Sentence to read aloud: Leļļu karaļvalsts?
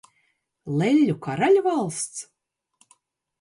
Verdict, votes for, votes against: accepted, 3, 0